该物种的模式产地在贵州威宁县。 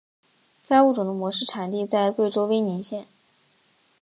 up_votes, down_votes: 3, 0